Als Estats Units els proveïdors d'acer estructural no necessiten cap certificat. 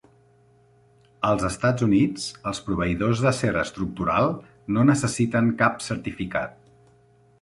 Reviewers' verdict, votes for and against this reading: accepted, 3, 0